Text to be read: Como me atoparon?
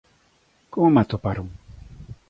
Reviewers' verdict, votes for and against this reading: accepted, 2, 0